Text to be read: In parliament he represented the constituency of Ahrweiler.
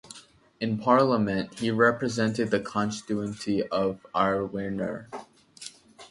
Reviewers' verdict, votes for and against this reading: rejected, 0, 2